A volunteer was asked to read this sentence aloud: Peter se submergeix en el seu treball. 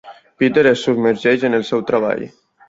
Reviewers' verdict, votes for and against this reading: rejected, 0, 2